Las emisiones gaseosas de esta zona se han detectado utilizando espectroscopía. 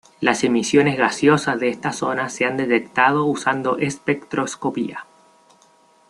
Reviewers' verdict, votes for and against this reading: rejected, 1, 2